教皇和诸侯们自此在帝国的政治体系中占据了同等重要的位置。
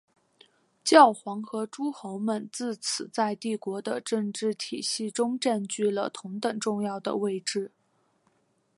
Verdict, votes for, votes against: accepted, 3, 2